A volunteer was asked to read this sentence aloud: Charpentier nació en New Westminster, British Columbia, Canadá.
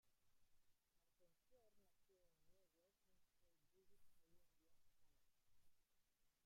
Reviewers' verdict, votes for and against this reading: rejected, 0, 2